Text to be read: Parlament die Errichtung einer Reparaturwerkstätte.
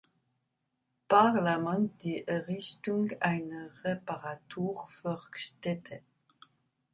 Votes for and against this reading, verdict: 1, 2, rejected